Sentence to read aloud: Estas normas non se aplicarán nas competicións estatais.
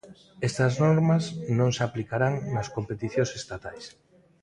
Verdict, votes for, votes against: rejected, 0, 2